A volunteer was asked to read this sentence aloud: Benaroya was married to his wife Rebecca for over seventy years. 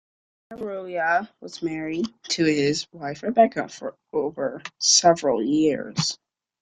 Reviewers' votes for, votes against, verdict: 0, 2, rejected